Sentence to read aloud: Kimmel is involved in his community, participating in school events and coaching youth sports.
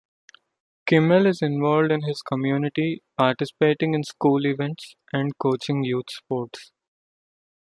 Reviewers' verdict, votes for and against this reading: accepted, 2, 0